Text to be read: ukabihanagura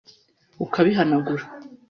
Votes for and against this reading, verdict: 1, 2, rejected